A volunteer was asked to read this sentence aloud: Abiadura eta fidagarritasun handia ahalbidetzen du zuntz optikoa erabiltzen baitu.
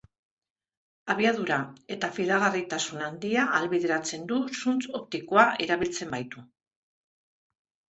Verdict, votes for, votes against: rejected, 2, 3